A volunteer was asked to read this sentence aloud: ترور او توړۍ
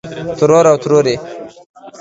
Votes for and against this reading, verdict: 2, 3, rejected